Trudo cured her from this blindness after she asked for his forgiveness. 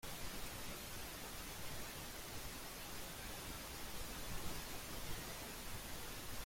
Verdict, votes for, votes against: rejected, 1, 2